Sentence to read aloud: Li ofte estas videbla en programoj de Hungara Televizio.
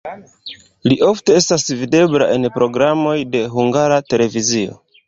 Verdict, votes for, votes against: accepted, 2, 0